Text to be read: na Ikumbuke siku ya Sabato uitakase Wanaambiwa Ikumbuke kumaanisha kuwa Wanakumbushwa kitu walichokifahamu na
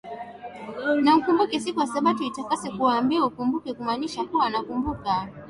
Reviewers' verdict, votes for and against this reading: rejected, 0, 2